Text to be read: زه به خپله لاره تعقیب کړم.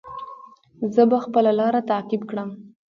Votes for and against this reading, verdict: 2, 0, accepted